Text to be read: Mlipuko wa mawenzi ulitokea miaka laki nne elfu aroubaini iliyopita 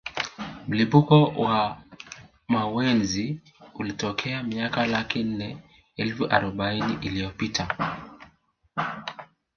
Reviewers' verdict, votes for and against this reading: rejected, 1, 2